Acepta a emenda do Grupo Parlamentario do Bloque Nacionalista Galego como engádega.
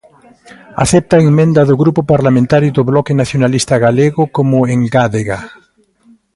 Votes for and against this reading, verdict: 0, 2, rejected